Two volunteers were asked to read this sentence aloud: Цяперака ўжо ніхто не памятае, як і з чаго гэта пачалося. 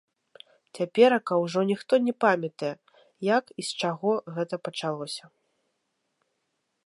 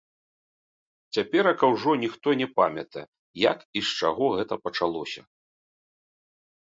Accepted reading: first